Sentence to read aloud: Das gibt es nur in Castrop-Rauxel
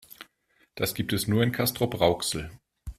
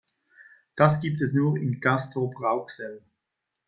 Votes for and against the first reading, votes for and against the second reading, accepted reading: 2, 0, 0, 2, first